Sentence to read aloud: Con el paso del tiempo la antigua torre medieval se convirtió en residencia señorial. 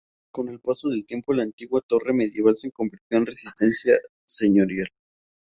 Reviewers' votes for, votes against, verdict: 0, 2, rejected